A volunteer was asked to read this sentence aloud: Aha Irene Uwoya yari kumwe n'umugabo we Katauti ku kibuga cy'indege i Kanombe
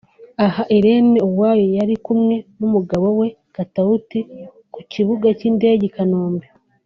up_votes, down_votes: 2, 0